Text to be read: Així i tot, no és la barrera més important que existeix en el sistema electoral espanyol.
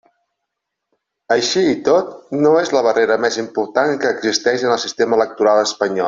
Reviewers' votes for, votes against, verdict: 1, 2, rejected